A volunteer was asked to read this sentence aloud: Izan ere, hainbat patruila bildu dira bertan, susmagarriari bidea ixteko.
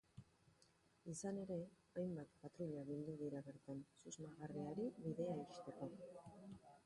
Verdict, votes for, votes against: rejected, 0, 3